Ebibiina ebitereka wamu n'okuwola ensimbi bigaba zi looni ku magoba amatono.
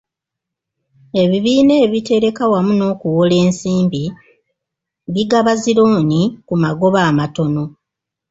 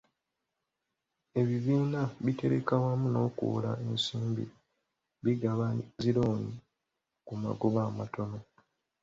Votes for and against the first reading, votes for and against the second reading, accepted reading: 2, 0, 1, 2, first